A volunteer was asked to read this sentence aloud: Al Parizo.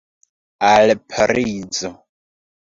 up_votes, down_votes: 2, 0